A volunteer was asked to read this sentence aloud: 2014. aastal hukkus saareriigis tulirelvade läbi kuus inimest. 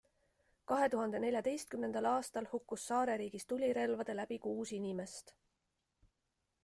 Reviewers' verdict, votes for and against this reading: rejected, 0, 2